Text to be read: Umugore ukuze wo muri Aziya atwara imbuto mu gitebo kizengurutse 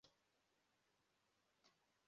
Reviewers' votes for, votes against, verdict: 0, 2, rejected